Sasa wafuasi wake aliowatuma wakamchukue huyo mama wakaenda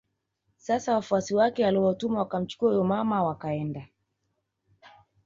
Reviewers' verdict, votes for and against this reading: accepted, 2, 0